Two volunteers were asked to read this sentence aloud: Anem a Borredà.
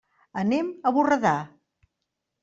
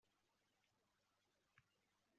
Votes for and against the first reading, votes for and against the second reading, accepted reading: 3, 0, 0, 2, first